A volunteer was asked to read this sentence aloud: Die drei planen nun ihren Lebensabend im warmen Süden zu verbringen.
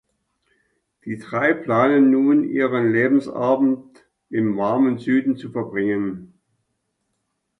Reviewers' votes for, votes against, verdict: 2, 0, accepted